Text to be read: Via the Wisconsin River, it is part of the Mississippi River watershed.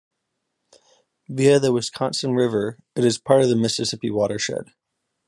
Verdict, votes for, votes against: rejected, 1, 2